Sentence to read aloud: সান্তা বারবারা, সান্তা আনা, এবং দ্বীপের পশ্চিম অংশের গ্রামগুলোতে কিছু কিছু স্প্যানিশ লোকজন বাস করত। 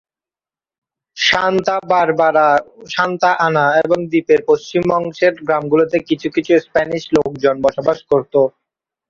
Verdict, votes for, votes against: rejected, 0, 2